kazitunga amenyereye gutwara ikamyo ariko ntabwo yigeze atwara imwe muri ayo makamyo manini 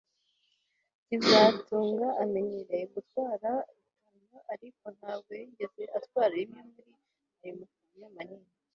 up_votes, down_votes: 1, 2